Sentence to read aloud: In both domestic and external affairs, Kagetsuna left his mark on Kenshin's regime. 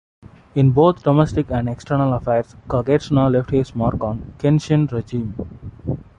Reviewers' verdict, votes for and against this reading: rejected, 1, 2